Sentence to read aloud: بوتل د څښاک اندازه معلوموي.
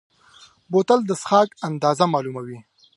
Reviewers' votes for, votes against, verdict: 2, 0, accepted